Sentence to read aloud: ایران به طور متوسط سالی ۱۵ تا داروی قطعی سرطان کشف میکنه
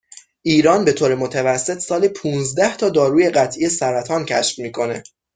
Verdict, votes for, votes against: rejected, 0, 2